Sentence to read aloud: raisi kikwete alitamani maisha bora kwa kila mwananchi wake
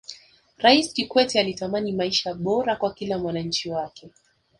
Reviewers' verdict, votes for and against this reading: accepted, 2, 1